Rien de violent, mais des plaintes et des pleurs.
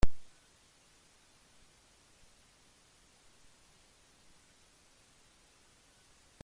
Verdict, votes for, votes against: rejected, 0, 2